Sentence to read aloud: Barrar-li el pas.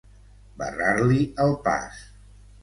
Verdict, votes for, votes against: accepted, 2, 0